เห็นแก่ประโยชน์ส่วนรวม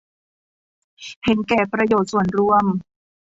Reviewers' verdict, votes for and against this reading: accepted, 2, 0